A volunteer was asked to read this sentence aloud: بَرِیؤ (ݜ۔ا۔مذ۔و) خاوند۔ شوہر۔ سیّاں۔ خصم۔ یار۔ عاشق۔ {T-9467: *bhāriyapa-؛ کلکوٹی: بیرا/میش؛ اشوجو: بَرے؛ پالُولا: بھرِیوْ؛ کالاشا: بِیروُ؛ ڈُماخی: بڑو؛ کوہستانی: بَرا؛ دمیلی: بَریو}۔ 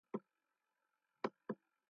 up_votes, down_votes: 0, 2